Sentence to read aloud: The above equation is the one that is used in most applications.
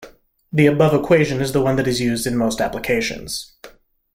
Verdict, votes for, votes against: accepted, 2, 0